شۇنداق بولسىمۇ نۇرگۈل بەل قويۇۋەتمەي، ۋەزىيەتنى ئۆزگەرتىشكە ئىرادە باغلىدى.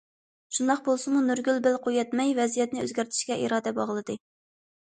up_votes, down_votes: 2, 0